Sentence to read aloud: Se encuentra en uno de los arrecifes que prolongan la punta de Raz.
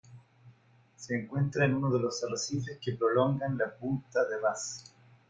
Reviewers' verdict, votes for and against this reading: rejected, 0, 2